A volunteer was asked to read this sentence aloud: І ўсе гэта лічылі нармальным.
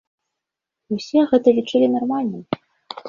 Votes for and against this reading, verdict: 2, 0, accepted